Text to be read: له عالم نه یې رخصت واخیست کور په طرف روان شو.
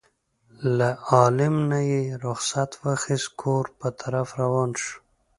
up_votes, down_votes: 3, 0